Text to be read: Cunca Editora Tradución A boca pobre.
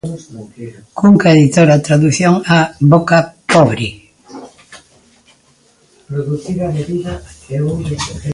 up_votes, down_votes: 1, 2